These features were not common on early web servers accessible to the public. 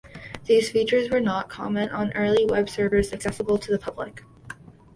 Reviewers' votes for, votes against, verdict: 2, 0, accepted